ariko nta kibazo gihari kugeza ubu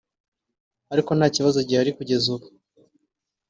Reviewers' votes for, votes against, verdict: 2, 0, accepted